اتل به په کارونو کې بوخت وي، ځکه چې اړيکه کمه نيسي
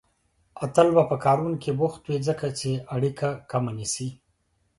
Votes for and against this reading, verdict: 3, 0, accepted